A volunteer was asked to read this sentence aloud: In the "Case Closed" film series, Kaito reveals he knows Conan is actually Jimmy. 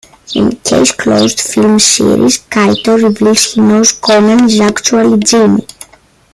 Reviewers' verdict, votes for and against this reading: rejected, 1, 2